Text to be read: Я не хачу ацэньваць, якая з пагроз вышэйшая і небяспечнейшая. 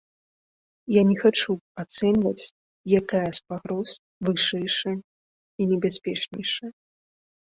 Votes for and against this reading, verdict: 2, 0, accepted